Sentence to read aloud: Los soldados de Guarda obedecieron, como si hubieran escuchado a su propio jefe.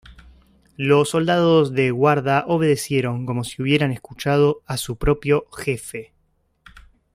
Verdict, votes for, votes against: rejected, 0, 2